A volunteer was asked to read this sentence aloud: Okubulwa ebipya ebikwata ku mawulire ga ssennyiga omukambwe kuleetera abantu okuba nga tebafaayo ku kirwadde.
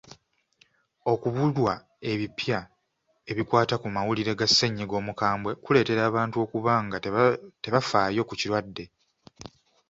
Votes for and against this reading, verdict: 2, 0, accepted